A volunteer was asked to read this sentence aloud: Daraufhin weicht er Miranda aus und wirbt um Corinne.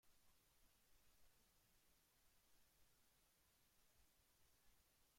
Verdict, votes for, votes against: rejected, 0, 2